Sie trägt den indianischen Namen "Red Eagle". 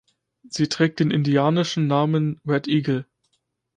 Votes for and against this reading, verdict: 2, 0, accepted